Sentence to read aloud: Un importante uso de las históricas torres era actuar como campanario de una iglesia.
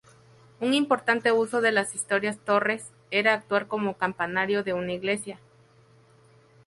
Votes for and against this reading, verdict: 2, 2, rejected